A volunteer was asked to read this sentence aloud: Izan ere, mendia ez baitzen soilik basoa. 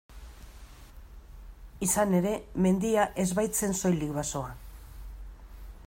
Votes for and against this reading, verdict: 2, 0, accepted